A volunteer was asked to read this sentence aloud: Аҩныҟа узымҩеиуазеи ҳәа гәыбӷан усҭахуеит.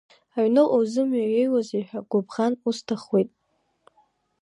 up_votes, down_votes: 1, 2